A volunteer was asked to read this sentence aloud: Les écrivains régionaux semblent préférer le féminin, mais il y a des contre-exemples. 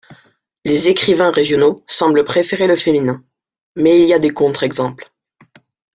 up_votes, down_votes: 2, 0